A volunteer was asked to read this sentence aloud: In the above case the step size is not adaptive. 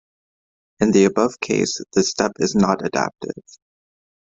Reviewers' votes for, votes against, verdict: 1, 3, rejected